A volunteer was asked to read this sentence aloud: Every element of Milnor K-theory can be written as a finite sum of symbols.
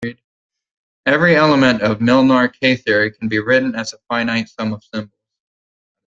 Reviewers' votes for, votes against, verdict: 1, 2, rejected